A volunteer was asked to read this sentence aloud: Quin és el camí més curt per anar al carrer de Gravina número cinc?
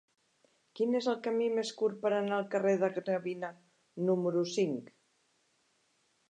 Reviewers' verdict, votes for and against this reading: accepted, 2, 0